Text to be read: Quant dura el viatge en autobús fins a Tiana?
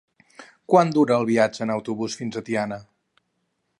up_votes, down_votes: 4, 0